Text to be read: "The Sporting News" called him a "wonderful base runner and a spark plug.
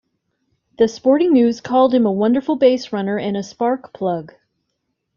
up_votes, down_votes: 2, 0